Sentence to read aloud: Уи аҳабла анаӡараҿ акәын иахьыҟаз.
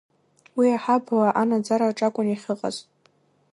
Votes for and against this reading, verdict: 2, 1, accepted